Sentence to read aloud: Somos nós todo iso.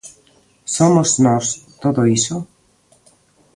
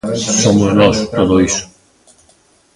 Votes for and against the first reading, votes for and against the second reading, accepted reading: 2, 0, 0, 2, first